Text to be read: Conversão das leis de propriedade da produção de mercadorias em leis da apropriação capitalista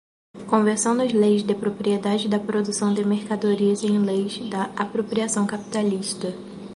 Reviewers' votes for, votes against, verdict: 2, 2, rejected